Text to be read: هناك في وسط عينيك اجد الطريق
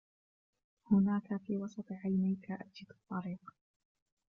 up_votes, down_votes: 0, 2